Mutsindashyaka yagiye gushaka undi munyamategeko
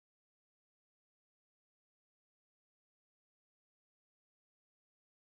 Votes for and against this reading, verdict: 1, 2, rejected